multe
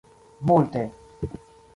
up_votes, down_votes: 2, 0